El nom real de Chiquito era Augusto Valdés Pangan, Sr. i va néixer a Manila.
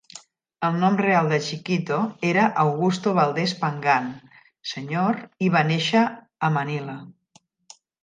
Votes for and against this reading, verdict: 0, 2, rejected